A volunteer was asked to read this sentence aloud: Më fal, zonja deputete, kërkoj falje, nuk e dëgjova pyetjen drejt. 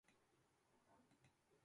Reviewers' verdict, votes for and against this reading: rejected, 0, 2